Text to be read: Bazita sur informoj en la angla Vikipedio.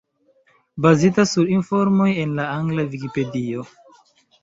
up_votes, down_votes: 2, 1